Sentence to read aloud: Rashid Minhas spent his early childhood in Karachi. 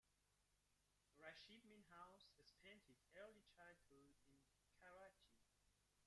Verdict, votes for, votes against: rejected, 0, 2